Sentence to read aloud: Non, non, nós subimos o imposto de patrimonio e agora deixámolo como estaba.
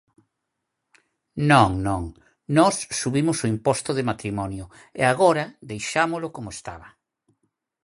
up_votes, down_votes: 0, 4